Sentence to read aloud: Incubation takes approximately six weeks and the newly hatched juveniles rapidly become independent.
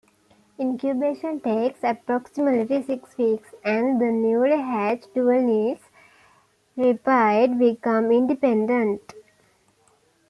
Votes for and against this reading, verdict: 0, 2, rejected